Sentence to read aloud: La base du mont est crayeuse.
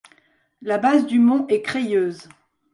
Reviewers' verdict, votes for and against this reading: accepted, 2, 0